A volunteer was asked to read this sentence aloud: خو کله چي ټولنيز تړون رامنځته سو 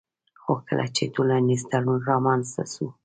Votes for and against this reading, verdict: 2, 0, accepted